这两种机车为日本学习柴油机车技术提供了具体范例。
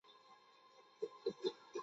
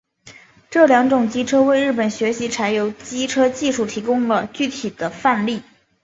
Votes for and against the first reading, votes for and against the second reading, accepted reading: 0, 2, 2, 1, second